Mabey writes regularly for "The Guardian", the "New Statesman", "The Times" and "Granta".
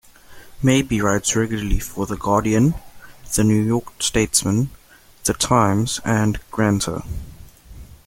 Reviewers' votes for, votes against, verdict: 0, 2, rejected